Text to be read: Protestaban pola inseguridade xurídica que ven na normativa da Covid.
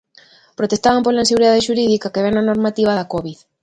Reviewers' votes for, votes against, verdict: 0, 2, rejected